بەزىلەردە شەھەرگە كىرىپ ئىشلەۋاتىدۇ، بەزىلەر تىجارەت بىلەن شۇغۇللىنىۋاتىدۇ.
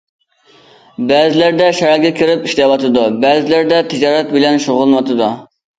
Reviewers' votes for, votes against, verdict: 0, 2, rejected